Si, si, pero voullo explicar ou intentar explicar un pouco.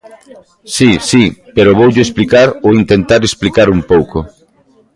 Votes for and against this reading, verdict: 1, 2, rejected